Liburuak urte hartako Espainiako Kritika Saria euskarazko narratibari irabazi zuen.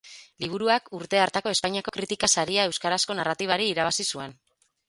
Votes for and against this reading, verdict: 4, 0, accepted